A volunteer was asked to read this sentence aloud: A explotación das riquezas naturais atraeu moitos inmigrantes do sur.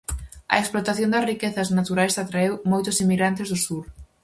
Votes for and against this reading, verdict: 4, 0, accepted